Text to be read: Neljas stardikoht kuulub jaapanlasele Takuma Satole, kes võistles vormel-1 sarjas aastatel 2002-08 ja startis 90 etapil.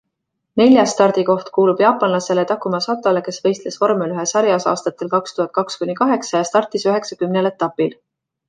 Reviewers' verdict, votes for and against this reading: rejected, 0, 2